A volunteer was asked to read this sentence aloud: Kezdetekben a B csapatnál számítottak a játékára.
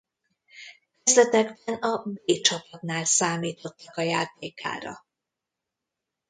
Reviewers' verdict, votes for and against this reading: rejected, 0, 2